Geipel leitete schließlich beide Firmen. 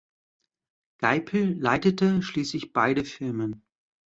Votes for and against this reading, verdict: 2, 0, accepted